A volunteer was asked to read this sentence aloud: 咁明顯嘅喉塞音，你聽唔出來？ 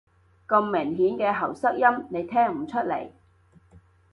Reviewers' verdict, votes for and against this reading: rejected, 1, 2